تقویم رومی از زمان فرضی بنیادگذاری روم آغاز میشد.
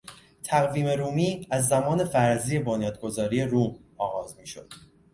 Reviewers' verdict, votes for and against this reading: accepted, 2, 0